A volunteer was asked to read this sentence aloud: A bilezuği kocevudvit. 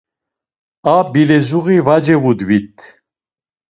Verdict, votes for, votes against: rejected, 0, 2